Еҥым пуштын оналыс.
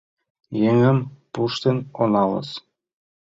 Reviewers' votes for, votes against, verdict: 2, 0, accepted